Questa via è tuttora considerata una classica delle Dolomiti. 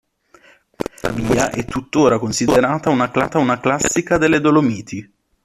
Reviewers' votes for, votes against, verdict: 0, 2, rejected